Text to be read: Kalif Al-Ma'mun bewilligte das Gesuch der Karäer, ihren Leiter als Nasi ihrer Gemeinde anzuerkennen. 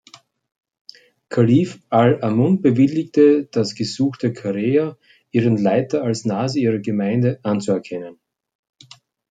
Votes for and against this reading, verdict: 1, 2, rejected